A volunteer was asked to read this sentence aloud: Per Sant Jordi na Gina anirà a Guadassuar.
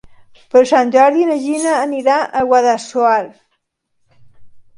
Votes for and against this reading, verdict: 2, 0, accepted